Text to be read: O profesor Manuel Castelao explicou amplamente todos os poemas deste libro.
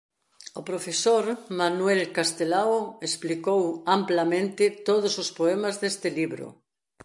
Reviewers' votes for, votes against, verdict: 2, 0, accepted